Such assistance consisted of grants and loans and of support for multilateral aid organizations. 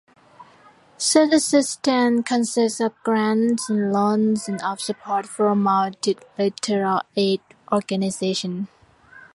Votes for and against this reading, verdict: 0, 2, rejected